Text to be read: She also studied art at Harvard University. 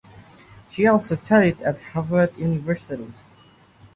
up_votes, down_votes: 0, 2